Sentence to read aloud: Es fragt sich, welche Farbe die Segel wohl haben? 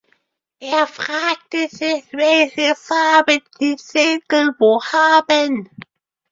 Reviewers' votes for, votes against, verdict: 0, 2, rejected